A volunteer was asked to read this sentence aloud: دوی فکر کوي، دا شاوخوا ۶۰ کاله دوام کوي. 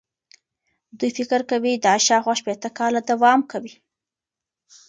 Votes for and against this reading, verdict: 0, 2, rejected